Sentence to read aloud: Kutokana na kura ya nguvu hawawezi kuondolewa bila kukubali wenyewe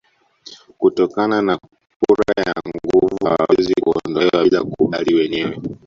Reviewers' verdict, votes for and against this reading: rejected, 1, 2